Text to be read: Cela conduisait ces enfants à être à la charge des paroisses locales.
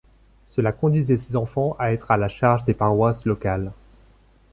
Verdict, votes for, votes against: accepted, 2, 0